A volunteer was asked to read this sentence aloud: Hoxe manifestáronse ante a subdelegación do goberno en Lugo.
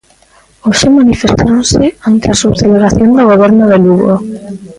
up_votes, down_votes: 0, 2